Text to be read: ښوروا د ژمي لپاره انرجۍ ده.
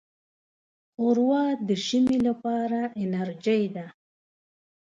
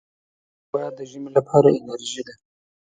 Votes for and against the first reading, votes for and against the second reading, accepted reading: 1, 2, 2, 0, second